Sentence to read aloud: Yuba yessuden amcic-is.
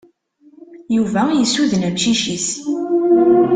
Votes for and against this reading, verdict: 2, 0, accepted